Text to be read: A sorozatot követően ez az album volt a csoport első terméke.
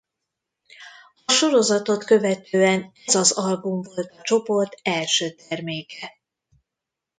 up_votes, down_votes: 1, 2